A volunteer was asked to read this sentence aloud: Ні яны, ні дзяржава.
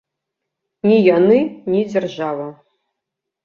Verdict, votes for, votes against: accepted, 2, 0